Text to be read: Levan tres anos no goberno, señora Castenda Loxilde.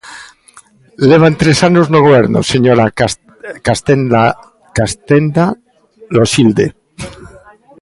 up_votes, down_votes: 0, 2